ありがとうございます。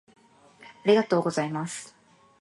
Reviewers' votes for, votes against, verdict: 2, 0, accepted